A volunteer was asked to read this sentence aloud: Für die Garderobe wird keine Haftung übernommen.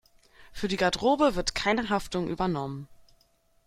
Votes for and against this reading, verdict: 1, 2, rejected